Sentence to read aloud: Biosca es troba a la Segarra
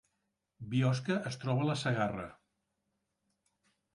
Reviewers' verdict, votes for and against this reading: accepted, 3, 0